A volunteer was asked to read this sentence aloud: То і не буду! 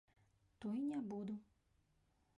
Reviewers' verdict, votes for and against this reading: accepted, 3, 1